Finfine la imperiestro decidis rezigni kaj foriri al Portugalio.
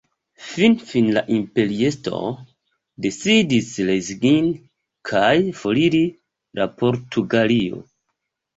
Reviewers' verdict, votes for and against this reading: rejected, 0, 2